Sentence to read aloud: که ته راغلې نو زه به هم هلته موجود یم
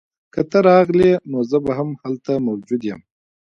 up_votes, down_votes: 3, 1